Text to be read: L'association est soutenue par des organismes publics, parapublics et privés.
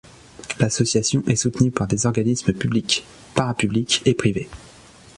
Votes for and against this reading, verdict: 2, 0, accepted